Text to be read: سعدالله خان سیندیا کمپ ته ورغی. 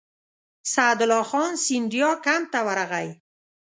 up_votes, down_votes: 2, 0